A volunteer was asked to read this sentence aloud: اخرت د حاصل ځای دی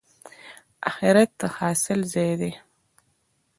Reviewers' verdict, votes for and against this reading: accepted, 2, 0